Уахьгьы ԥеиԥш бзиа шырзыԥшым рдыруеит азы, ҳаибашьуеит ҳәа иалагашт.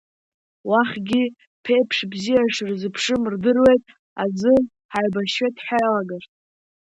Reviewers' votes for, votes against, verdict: 0, 2, rejected